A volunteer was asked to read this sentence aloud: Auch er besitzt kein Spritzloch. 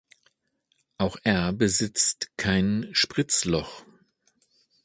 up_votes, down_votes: 2, 0